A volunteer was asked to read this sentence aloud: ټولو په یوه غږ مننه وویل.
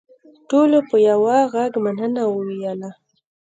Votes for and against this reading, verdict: 2, 0, accepted